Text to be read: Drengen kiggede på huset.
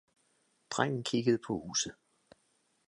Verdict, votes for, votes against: accepted, 2, 0